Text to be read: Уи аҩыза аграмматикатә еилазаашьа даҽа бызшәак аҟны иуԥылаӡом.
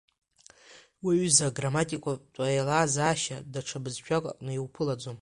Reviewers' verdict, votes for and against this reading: accepted, 2, 0